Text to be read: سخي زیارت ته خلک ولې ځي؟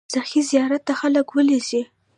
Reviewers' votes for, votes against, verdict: 1, 2, rejected